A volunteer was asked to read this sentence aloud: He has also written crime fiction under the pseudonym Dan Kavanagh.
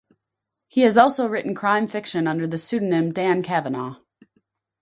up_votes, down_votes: 4, 0